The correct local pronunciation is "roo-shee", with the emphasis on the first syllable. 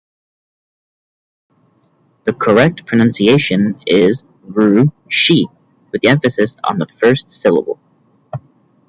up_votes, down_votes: 0, 2